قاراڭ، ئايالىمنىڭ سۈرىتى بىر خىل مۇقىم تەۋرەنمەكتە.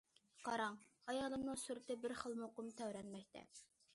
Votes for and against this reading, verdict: 2, 0, accepted